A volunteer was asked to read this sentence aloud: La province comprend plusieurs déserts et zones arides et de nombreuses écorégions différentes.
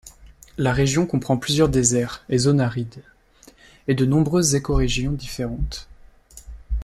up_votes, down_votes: 0, 2